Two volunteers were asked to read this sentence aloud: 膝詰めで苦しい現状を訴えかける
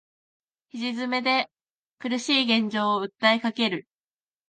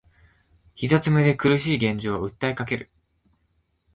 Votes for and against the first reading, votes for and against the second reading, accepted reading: 0, 2, 2, 0, second